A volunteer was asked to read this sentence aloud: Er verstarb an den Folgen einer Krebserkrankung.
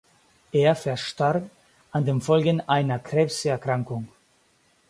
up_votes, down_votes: 4, 0